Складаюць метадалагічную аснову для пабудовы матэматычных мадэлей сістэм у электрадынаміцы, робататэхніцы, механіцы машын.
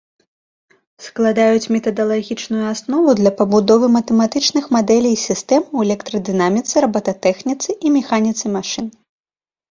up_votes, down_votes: 1, 2